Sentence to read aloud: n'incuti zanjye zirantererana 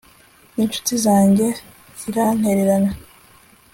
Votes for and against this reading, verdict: 3, 0, accepted